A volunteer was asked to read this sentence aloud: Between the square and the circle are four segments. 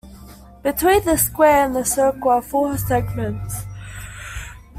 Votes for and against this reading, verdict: 2, 0, accepted